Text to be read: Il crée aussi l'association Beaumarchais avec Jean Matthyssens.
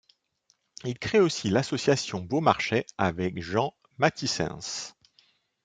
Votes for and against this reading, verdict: 2, 0, accepted